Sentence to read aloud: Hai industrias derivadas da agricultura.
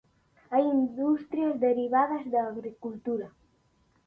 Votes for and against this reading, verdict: 2, 0, accepted